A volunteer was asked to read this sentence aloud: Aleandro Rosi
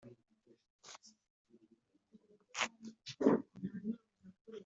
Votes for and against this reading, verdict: 0, 2, rejected